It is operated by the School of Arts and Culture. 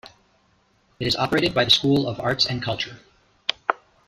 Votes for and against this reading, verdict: 1, 2, rejected